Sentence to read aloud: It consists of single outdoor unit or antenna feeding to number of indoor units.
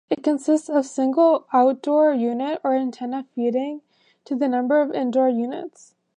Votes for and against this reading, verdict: 1, 2, rejected